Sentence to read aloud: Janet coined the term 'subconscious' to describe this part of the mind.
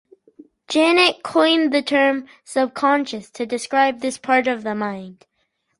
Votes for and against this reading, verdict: 10, 0, accepted